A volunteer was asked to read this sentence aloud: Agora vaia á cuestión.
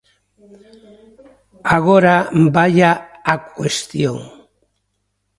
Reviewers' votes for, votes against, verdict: 1, 2, rejected